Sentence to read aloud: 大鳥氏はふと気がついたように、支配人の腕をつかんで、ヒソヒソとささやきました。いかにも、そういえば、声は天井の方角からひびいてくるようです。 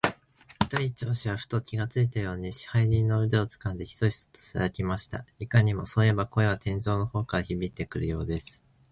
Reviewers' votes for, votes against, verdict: 2, 1, accepted